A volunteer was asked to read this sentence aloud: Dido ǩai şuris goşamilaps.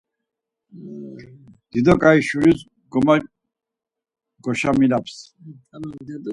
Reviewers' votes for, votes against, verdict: 0, 4, rejected